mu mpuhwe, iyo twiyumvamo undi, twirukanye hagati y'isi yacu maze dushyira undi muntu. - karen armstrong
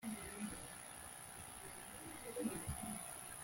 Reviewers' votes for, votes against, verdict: 0, 3, rejected